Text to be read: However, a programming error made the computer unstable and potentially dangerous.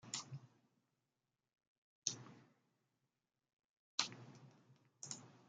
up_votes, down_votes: 0, 2